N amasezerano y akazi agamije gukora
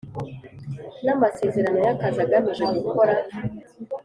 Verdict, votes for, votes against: accepted, 2, 0